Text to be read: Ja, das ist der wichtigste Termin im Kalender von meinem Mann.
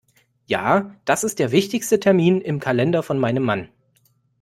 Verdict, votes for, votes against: accepted, 2, 0